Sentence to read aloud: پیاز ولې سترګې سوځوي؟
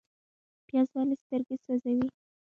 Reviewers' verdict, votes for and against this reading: rejected, 1, 2